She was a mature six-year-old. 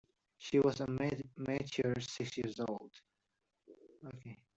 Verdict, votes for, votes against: rejected, 0, 2